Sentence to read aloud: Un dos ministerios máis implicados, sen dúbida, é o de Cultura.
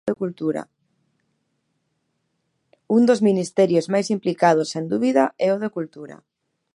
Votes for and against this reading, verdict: 1, 3, rejected